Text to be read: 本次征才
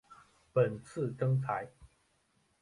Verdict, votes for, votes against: accepted, 2, 1